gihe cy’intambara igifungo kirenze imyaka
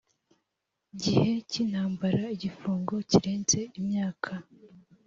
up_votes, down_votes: 2, 0